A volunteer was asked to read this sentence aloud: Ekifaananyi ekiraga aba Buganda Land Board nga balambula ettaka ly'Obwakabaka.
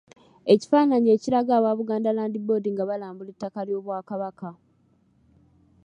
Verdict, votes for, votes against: accepted, 2, 0